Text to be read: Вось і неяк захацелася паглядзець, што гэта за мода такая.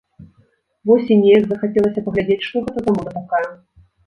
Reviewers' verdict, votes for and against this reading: rejected, 0, 2